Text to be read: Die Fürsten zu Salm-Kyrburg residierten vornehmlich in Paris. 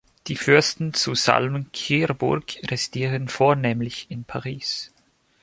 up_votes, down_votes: 1, 3